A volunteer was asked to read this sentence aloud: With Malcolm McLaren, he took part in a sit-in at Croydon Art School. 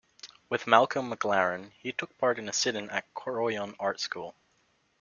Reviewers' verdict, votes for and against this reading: rejected, 1, 2